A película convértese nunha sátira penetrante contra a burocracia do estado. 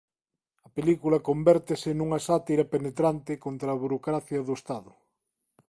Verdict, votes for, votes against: rejected, 1, 2